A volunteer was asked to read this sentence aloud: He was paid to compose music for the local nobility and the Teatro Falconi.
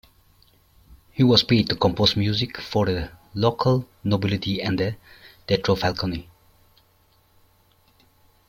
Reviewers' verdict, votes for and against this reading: accepted, 2, 0